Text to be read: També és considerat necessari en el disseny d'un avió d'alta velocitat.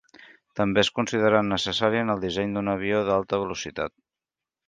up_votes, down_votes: 2, 0